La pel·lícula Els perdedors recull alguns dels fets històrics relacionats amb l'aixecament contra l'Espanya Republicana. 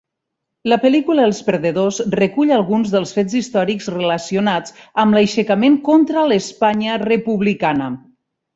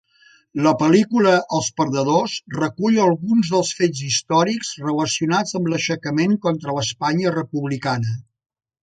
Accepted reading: second